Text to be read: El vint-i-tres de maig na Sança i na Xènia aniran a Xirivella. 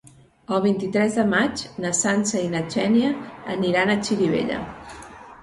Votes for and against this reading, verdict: 2, 0, accepted